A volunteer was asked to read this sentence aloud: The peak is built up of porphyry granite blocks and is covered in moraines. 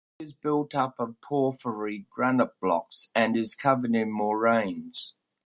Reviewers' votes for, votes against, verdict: 1, 2, rejected